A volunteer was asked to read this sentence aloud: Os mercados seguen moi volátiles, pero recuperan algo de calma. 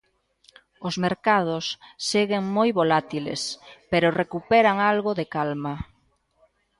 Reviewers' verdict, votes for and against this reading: accepted, 2, 0